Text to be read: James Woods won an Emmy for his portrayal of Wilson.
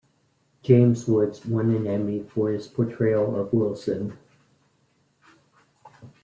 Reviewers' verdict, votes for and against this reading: accepted, 2, 0